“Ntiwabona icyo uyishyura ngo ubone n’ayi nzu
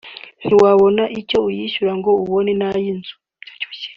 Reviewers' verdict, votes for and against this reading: accepted, 3, 0